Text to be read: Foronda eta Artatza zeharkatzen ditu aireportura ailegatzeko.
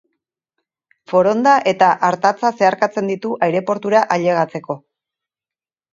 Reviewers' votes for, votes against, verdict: 2, 2, rejected